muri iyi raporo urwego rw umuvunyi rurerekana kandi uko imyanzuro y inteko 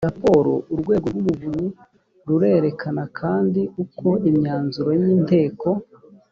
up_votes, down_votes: 0, 2